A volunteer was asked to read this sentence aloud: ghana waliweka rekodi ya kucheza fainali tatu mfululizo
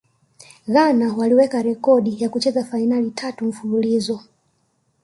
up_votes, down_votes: 2, 0